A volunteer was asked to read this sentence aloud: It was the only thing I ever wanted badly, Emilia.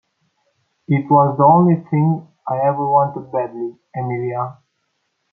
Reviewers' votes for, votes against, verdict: 2, 1, accepted